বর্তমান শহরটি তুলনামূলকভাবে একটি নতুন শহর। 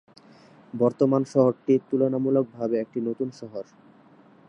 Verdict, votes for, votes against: accepted, 2, 0